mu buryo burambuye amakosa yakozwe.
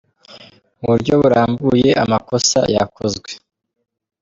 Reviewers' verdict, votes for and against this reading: accepted, 2, 0